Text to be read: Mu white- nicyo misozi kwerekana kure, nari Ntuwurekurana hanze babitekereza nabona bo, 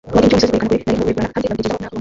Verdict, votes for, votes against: rejected, 0, 2